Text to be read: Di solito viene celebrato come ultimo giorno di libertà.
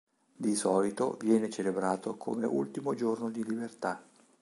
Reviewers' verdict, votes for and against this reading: accepted, 2, 0